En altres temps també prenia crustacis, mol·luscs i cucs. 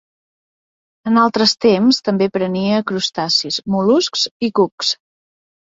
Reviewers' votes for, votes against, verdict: 4, 0, accepted